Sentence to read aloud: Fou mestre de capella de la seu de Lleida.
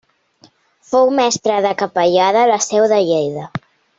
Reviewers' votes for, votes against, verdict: 0, 2, rejected